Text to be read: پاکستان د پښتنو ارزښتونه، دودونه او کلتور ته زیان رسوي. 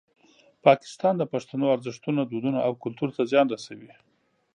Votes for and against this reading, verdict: 2, 0, accepted